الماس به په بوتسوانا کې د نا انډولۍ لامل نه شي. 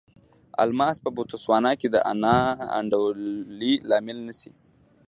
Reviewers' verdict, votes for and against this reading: rejected, 1, 2